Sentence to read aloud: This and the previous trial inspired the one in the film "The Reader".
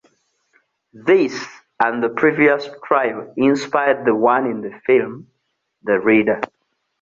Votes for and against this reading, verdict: 2, 0, accepted